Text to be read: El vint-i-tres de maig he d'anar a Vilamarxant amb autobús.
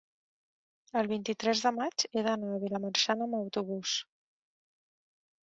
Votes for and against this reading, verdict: 1, 2, rejected